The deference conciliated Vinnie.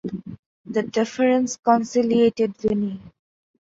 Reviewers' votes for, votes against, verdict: 2, 0, accepted